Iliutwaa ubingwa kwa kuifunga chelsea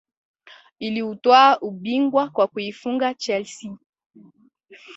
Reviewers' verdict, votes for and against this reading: accepted, 2, 1